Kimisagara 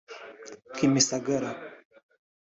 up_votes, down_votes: 4, 0